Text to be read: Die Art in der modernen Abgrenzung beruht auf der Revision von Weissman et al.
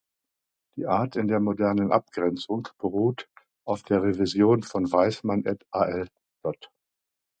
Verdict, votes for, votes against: rejected, 0, 2